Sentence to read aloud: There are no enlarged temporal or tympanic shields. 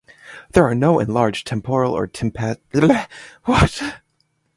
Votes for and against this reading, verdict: 0, 2, rejected